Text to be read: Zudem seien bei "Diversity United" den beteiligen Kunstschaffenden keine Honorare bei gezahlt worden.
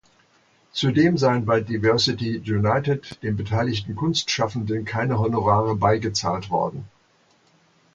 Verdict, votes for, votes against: accepted, 2, 0